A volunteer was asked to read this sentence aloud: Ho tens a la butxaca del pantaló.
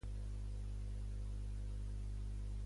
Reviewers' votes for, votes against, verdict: 1, 2, rejected